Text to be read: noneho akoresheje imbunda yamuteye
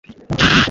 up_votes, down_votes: 1, 2